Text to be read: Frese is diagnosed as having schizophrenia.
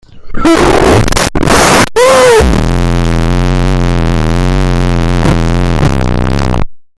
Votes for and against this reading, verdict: 0, 2, rejected